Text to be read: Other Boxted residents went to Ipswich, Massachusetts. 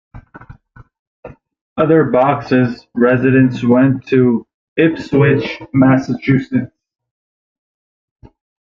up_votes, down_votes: 0, 2